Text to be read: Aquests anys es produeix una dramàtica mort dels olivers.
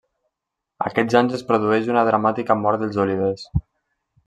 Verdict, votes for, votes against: accepted, 2, 0